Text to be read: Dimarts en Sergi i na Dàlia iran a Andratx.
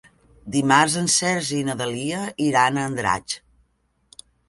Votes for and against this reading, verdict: 0, 2, rejected